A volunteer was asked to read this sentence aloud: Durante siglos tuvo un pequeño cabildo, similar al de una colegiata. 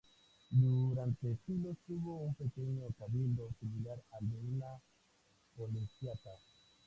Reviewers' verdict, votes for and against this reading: accepted, 2, 0